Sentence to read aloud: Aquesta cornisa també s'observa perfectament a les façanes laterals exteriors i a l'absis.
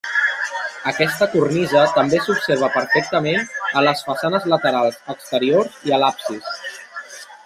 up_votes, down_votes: 2, 0